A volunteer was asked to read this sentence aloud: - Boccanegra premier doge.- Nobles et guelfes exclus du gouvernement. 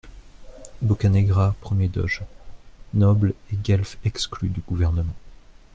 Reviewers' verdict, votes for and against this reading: accepted, 2, 0